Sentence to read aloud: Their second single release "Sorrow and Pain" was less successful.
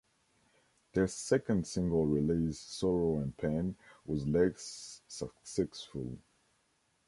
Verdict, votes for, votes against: rejected, 0, 2